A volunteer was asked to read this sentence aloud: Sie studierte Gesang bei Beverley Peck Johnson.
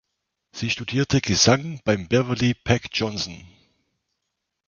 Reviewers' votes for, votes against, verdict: 1, 2, rejected